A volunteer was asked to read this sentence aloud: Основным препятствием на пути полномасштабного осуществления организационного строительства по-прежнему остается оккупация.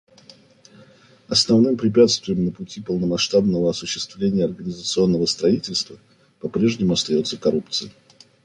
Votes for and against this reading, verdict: 1, 2, rejected